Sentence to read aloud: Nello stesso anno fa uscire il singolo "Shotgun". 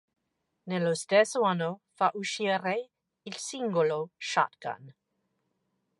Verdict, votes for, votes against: accepted, 2, 0